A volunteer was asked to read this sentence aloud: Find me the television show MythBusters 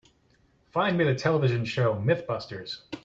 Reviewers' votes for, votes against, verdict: 2, 0, accepted